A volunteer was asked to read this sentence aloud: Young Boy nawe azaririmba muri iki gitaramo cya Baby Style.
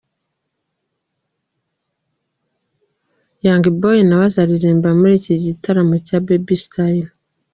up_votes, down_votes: 2, 1